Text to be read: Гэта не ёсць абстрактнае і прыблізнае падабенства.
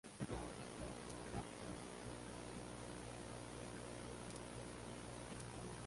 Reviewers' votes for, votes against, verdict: 0, 2, rejected